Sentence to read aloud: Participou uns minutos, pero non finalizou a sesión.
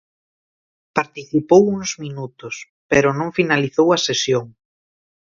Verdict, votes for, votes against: accepted, 2, 0